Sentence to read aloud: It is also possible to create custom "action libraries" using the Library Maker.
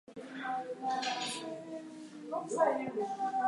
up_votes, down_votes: 0, 4